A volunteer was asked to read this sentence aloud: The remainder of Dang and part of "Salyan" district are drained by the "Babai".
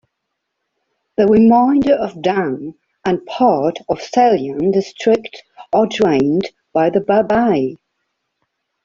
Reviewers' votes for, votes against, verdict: 2, 1, accepted